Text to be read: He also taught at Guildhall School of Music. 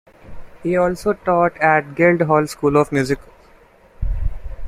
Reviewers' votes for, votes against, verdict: 2, 0, accepted